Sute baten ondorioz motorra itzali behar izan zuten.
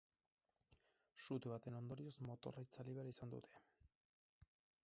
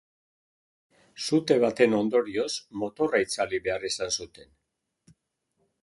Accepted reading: second